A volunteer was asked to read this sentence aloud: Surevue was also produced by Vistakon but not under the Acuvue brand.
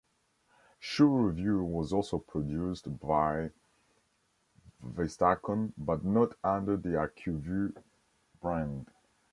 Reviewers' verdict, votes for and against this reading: rejected, 0, 2